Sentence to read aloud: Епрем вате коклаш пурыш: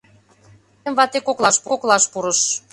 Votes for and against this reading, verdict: 0, 2, rejected